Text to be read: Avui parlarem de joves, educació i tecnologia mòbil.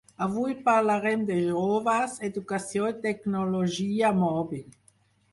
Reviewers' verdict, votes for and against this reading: rejected, 2, 4